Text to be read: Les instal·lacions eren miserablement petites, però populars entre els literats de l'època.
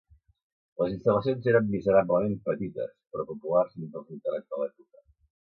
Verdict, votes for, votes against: rejected, 1, 2